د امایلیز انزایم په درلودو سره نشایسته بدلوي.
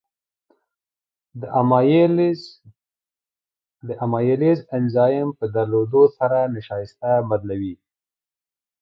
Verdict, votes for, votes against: accepted, 2, 0